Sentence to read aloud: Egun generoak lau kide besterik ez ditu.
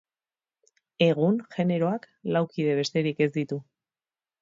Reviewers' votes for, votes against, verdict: 6, 0, accepted